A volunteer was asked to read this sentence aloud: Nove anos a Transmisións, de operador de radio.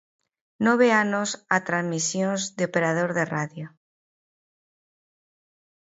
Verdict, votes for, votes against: rejected, 0, 2